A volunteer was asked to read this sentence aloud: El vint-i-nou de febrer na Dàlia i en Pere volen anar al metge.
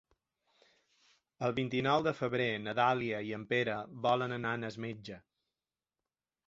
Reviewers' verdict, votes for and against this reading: accepted, 2, 0